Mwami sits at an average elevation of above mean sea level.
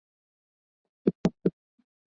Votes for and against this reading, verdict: 0, 2, rejected